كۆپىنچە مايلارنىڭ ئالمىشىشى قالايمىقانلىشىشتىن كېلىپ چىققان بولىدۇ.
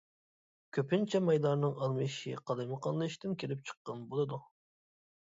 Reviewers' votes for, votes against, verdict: 2, 0, accepted